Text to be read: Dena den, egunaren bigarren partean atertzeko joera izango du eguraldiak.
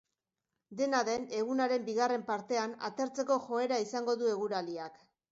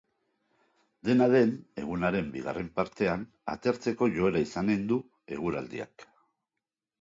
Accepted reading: first